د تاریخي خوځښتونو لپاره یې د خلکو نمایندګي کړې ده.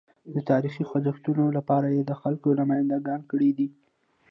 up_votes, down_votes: 2, 1